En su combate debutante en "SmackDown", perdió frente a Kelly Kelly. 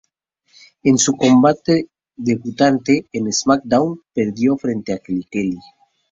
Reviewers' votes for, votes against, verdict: 4, 0, accepted